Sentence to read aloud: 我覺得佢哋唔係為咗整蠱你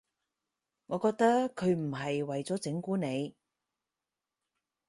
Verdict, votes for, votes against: rejected, 0, 4